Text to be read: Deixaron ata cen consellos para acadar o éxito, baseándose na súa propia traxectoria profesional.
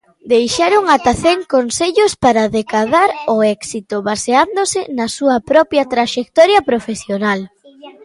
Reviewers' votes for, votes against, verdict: 0, 2, rejected